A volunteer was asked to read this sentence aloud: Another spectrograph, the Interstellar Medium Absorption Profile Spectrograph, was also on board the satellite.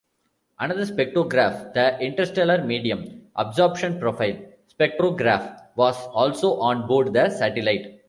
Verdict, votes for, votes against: rejected, 0, 2